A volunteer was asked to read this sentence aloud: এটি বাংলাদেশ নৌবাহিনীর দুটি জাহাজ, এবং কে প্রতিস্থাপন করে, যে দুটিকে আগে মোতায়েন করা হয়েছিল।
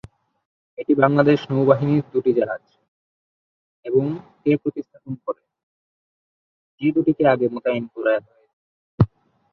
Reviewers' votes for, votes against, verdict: 0, 2, rejected